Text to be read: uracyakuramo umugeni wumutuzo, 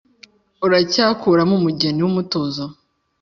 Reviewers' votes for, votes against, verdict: 2, 0, accepted